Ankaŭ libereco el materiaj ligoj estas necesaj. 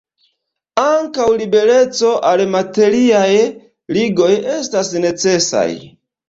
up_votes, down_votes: 1, 2